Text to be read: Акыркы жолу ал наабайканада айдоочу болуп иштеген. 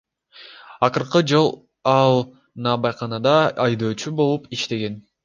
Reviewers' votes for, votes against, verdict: 0, 2, rejected